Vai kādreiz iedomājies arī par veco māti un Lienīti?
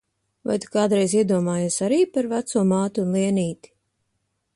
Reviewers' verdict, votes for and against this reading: rejected, 0, 2